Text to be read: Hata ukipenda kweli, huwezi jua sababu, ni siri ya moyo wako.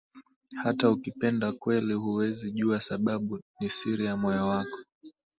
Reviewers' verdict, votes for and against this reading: accepted, 2, 0